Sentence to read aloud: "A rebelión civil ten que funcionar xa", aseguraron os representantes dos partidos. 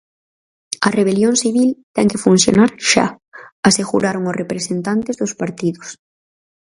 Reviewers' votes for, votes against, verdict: 4, 0, accepted